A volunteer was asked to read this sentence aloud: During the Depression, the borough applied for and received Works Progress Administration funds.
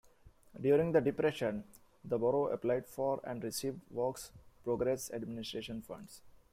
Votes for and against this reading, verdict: 2, 1, accepted